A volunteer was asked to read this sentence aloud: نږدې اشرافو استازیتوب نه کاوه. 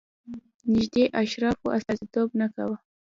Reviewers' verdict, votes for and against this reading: rejected, 0, 2